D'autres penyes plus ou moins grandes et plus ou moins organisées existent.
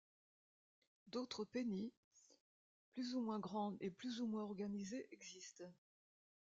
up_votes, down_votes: 0, 2